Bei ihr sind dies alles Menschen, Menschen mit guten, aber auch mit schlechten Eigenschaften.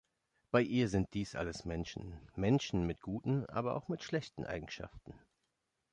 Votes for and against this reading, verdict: 2, 0, accepted